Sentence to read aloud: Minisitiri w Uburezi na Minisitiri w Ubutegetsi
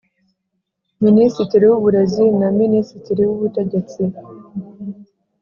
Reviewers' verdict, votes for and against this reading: accepted, 4, 0